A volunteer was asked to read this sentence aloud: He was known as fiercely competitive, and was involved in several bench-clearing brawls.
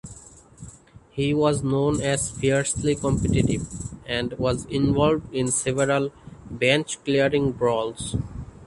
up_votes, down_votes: 2, 0